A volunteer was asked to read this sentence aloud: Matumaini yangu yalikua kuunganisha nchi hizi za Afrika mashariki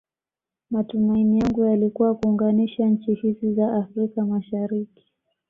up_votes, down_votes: 2, 0